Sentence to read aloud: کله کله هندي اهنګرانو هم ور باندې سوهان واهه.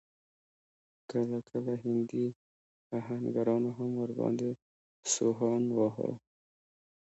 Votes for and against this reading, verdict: 0, 2, rejected